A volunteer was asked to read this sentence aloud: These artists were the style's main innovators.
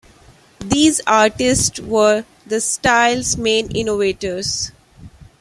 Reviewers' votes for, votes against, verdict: 0, 2, rejected